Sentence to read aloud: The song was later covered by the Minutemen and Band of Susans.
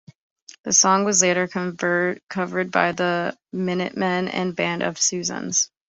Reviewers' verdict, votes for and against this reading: rejected, 0, 2